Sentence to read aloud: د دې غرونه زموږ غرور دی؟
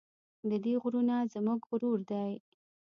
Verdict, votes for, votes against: rejected, 0, 2